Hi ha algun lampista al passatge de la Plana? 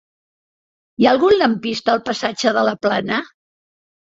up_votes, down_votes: 3, 0